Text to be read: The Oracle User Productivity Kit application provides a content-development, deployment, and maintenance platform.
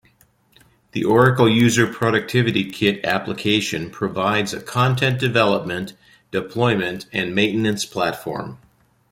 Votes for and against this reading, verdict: 2, 0, accepted